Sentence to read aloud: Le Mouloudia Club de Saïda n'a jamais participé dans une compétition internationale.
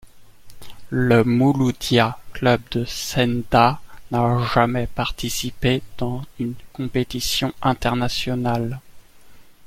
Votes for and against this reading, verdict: 1, 2, rejected